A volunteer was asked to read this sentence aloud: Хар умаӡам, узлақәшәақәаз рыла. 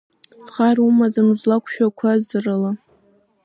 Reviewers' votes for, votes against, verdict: 2, 1, accepted